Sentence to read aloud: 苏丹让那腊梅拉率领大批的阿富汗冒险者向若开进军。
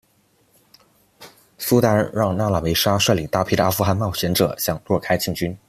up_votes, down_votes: 2, 0